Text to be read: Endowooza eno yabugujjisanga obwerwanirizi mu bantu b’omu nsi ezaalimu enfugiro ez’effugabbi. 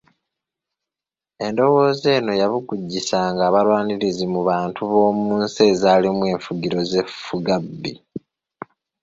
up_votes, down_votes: 1, 2